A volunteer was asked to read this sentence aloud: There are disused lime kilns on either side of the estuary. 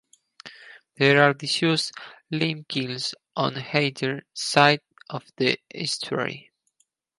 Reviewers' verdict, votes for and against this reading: rejected, 2, 2